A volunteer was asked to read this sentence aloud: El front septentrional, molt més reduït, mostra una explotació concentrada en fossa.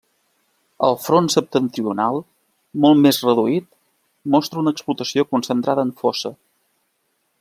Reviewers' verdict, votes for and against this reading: accepted, 2, 0